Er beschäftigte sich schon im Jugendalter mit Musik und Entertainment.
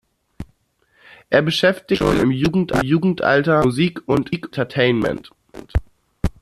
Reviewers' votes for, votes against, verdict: 0, 2, rejected